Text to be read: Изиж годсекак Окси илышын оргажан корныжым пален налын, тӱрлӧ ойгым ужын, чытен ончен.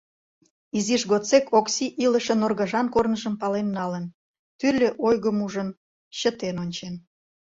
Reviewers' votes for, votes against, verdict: 1, 2, rejected